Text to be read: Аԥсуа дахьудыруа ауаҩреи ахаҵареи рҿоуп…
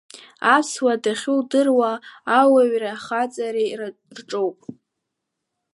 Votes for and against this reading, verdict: 1, 2, rejected